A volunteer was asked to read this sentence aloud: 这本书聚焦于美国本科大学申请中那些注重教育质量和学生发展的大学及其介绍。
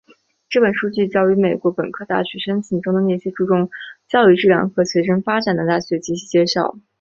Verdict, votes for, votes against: accepted, 5, 0